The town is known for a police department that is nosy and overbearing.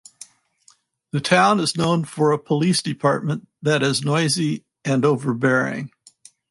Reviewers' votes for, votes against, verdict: 2, 2, rejected